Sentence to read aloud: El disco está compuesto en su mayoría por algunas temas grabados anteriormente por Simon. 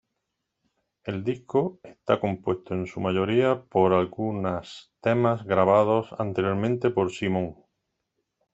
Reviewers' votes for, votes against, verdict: 0, 2, rejected